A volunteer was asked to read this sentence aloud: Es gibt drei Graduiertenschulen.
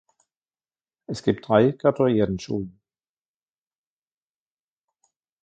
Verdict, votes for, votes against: rejected, 1, 2